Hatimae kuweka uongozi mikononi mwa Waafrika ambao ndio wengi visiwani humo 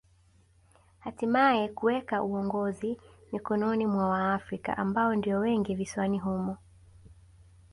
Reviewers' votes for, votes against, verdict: 2, 0, accepted